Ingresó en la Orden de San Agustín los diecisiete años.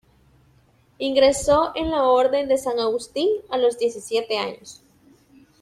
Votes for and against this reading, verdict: 1, 2, rejected